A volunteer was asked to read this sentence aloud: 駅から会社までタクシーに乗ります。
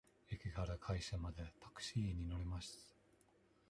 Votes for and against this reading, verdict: 2, 0, accepted